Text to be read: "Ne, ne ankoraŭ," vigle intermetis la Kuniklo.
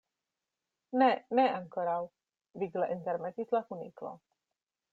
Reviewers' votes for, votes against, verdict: 2, 0, accepted